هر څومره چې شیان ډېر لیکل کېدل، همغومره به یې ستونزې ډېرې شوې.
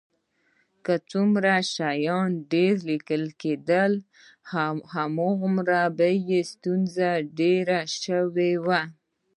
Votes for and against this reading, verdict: 2, 1, accepted